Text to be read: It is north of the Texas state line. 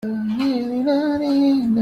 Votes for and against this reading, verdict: 0, 2, rejected